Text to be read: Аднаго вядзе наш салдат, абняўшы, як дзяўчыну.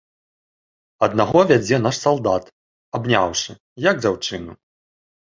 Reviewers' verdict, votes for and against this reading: accepted, 2, 0